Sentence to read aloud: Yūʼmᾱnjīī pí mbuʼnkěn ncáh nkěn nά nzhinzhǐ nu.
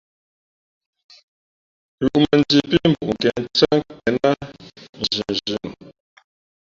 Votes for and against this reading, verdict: 3, 4, rejected